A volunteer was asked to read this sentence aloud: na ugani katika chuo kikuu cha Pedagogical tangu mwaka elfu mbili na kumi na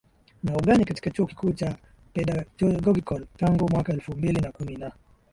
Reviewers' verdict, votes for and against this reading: accepted, 4, 1